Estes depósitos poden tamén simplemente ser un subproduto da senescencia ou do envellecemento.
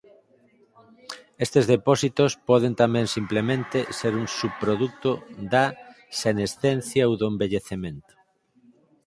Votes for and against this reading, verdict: 2, 4, rejected